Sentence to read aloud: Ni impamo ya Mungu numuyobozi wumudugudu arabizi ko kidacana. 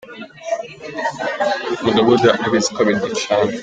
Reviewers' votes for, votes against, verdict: 1, 2, rejected